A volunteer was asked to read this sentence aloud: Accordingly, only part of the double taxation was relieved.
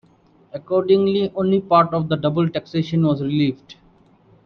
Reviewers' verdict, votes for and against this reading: accepted, 2, 1